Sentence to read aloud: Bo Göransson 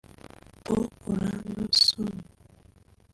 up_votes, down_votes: 0, 2